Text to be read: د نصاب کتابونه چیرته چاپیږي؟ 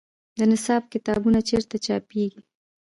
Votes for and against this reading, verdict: 2, 0, accepted